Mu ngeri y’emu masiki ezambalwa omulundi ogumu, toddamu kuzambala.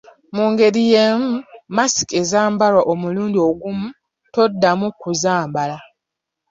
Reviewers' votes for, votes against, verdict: 2, 0, accepted